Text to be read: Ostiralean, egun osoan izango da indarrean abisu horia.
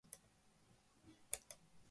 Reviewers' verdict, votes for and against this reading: rejected, 0, 3